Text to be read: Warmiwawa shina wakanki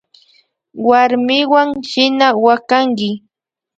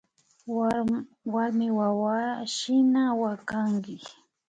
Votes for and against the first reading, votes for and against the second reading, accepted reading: 1, 2, 2, 1, second